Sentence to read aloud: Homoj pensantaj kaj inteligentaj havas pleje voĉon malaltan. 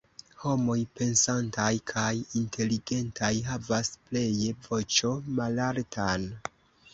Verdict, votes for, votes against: accepted, 2, 1